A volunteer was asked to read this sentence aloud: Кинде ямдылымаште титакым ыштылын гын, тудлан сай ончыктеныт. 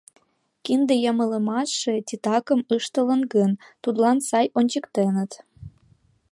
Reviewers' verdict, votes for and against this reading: rejected, 0, 2